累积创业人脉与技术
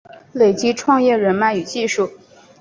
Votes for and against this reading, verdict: 2, 0, accepted